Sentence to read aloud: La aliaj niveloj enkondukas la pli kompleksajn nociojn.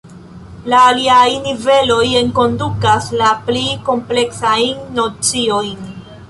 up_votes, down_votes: 1, 2